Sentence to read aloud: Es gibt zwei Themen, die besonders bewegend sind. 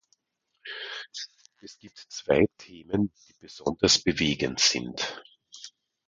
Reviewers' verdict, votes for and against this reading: accepted, 2, 0